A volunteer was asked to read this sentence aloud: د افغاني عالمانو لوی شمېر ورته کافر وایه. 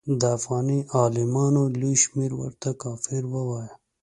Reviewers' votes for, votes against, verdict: 2, 0, accepted